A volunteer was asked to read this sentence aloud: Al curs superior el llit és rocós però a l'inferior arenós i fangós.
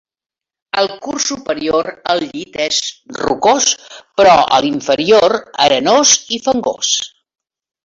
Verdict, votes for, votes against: rejected, 0, 2